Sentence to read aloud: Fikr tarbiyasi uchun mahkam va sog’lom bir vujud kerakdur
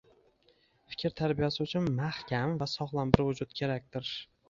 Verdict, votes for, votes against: accepted, 2, 0